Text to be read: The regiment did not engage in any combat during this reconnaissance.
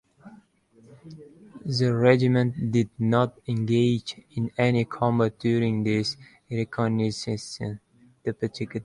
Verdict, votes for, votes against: rejected, 0, 2